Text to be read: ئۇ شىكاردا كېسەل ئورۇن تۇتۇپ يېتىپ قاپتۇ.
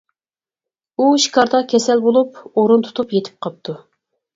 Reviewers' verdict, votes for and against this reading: rejected, 0, 4